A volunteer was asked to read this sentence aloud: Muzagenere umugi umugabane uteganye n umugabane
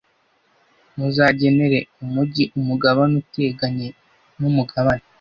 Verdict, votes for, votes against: accepted, 2, 0